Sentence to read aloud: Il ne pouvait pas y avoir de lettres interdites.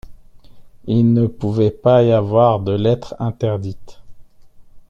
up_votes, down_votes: 1, 2